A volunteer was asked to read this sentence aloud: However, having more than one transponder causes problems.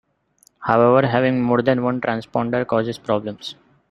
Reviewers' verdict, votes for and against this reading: accepted, 2, 1